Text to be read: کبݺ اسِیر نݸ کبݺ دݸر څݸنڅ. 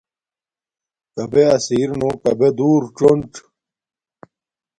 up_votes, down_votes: 2, 0